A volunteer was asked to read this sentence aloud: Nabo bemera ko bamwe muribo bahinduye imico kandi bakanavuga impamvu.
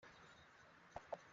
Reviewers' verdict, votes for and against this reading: rejected, 0, 3